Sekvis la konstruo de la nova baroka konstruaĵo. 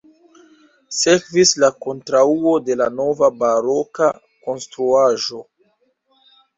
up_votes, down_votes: 0, 2